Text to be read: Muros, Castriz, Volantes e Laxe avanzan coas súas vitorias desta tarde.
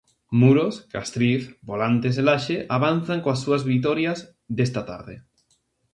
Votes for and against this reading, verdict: 2, 0, accepted